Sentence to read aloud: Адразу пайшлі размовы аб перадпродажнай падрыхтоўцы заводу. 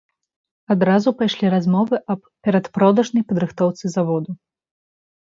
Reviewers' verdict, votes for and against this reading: accepted, 2, 0